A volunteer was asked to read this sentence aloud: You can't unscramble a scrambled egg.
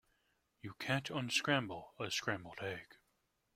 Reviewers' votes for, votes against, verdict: 2, 0, accepted